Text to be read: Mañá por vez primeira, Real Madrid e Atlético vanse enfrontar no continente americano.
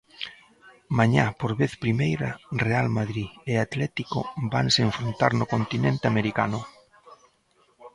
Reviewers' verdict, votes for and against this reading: accepted, 2, 0